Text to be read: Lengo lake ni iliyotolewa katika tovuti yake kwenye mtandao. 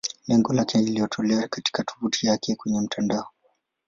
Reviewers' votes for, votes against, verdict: 2, 0, accepted